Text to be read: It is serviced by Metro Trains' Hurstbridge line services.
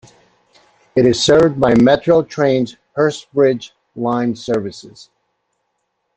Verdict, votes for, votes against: rejected, 0, 2